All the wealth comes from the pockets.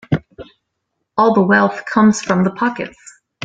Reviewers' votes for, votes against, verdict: 2, 0, accepted